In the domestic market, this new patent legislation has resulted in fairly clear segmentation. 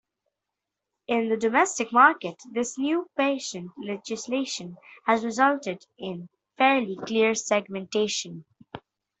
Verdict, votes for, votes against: rejected, 1, 2